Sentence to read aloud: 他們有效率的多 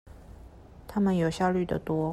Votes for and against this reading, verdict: 2, 0, accepted